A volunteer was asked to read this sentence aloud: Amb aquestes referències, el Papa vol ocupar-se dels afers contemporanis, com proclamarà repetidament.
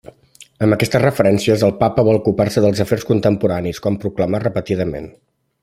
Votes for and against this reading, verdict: 0, 2, rejected